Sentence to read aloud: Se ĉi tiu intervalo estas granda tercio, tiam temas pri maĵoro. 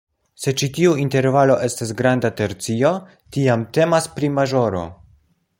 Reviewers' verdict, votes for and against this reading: accepted, 2, 0